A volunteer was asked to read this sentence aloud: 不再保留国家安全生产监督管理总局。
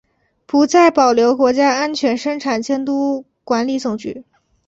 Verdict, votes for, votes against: accepted, 3, 0